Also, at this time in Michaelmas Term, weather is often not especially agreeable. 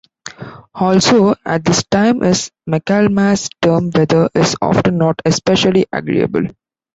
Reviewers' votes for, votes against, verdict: 1, 2, rejected